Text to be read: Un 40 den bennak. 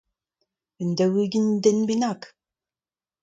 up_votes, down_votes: 0, 2